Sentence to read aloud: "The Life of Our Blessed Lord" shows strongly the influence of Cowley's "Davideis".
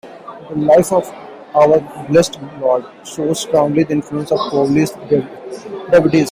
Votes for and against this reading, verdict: 1, 2, rejected